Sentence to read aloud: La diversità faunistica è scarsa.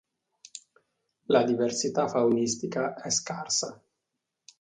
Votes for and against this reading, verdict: 2, 0, accepted